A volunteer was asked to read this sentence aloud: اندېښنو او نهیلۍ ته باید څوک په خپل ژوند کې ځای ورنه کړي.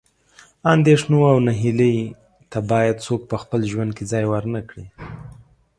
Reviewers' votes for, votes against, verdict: 2, 0, accepted